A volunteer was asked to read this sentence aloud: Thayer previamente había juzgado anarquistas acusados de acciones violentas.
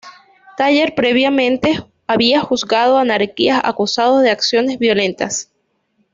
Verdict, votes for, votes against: rejected, 1, 2